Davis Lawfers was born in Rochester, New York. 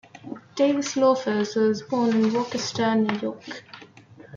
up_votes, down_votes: 2, 1